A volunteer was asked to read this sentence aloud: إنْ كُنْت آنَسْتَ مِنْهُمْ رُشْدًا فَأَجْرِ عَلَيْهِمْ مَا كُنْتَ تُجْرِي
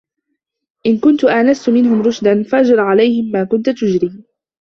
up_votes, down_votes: 2, 1